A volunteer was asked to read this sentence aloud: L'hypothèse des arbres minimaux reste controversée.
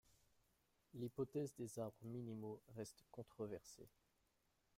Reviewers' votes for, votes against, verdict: 2, 1, accepted